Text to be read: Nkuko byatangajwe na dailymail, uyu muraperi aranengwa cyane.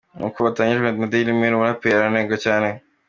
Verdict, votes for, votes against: accepted, 2, 0